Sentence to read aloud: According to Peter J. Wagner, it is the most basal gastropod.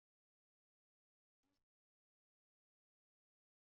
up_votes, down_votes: 0, 2